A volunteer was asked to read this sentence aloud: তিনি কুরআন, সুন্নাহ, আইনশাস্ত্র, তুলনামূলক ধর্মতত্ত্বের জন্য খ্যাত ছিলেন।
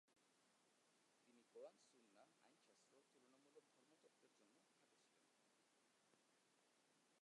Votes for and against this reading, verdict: 0, 2, rejected